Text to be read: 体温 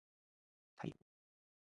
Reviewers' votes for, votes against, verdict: 0, 2, rejected